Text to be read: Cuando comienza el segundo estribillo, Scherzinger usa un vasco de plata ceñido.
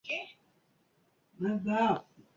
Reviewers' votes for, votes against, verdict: 0, 2, rejected